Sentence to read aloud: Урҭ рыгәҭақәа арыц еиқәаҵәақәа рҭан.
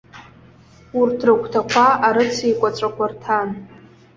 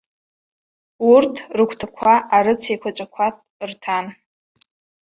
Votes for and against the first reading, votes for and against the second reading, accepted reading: 2, 0, 1, 2, first